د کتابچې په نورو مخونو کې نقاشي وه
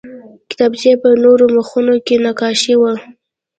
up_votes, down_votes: 2, 0